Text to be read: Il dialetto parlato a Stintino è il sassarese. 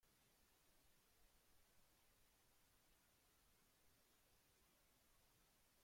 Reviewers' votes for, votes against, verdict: 0, 2, rejected